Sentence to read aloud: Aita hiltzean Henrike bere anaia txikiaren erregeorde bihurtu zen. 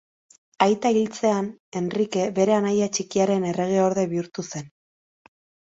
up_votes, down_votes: 2, 0